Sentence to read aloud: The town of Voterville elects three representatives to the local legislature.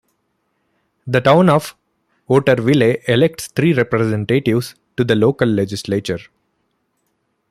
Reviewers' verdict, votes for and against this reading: rejected, 0, 2